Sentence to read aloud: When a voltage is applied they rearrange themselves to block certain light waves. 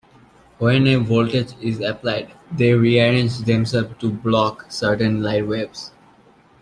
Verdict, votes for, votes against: rejected, 0, 2